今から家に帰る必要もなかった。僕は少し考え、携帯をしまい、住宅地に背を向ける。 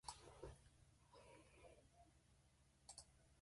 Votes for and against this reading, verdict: 0, 2, rejected